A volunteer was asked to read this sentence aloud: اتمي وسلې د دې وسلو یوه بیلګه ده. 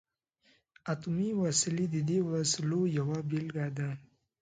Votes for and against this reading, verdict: 2, 0, accepted